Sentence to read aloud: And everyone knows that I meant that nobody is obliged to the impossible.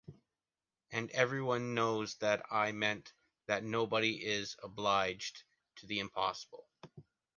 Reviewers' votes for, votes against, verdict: 2, 0, accepted